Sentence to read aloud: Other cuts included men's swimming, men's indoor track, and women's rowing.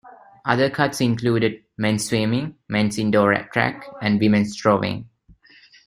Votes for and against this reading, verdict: 2, 1, accepted